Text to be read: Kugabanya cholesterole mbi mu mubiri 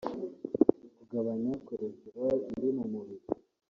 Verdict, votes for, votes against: rejected, 0, 2